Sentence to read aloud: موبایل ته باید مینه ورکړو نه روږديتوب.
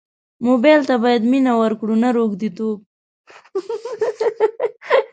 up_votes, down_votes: 0, 2